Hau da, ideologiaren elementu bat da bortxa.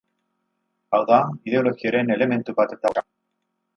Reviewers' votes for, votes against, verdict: 0, 4, rejected